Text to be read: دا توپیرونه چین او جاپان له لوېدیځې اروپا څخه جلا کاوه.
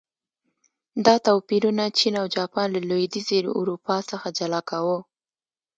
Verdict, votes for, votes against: rejected, 1, 2